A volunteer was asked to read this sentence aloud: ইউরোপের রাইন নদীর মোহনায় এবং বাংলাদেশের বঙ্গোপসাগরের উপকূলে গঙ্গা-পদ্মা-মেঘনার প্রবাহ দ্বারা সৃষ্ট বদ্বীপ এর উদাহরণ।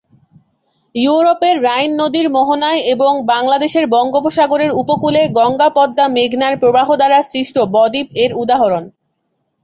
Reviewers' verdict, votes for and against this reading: accepted, 2, 0